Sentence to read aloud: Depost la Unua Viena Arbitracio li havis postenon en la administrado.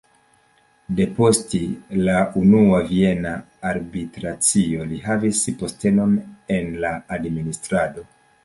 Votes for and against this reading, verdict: 2, 0, accepted